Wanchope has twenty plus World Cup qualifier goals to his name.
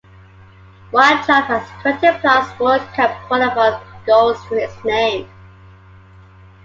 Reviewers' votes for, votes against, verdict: 2, 1, accepted